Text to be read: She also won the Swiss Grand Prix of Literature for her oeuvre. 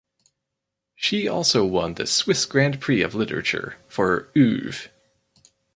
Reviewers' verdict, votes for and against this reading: rejected, 2, 2